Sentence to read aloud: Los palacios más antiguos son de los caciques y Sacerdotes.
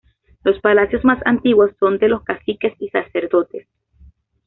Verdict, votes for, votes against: accepted, 2, 0